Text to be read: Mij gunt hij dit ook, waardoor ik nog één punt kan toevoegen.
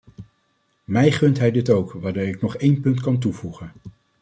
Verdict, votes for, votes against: accepted, 2, 0